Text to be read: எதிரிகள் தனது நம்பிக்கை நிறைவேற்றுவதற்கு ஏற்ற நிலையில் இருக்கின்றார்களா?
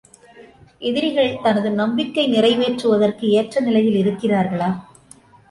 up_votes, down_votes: 2, 1